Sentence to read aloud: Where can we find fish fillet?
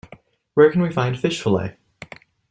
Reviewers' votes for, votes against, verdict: 2, 0, accepted